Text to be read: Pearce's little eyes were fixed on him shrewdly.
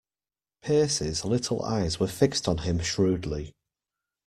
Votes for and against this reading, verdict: 2, 0, accepted